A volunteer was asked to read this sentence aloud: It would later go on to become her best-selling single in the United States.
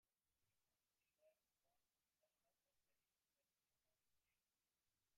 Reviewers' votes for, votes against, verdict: 0, 2, rejected